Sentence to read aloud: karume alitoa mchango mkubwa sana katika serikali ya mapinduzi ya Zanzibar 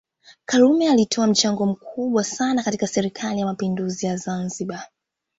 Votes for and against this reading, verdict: 2, 0, accepted